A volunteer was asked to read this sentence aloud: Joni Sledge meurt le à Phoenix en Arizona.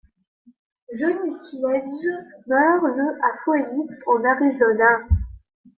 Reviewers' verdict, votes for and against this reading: rejected, 0, 2